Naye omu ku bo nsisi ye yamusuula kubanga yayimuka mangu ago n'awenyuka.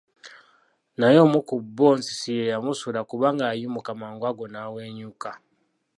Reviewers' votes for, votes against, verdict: 0, 2, rejected